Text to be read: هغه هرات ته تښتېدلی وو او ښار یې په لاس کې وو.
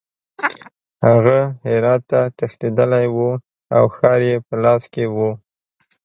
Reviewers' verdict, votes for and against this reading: rejected, 1, 2